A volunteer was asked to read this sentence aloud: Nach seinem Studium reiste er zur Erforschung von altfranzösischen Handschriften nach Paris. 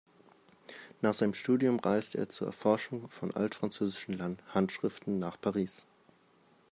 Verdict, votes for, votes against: accepted, 2, 1